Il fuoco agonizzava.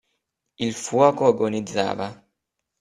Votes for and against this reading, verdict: 2, 0, accepted